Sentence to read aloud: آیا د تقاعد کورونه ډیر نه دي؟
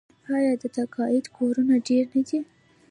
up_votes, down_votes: 2, 1